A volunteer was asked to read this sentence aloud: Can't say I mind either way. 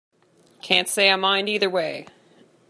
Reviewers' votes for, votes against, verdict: 2, 0, accepted